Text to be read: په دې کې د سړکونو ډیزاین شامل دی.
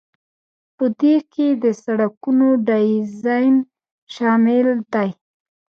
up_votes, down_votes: 1, 2